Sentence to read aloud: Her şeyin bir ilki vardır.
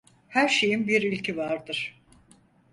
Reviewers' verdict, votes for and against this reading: accepted, 4, 0